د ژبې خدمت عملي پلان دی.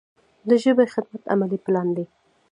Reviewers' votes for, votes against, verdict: 2, 0, accepted